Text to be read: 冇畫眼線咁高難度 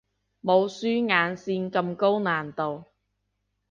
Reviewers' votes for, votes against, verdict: 0, 2, rejected